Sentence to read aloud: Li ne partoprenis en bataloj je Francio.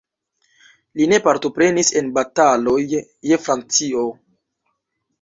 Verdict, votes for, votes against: accepted, 2, 1